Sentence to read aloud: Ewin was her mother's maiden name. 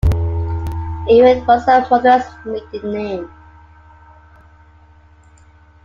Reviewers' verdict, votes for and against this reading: accepted, 3, 0